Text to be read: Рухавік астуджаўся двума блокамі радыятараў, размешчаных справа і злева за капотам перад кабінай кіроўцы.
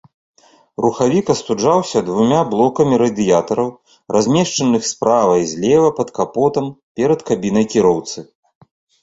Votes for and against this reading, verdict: 1, 3, rejected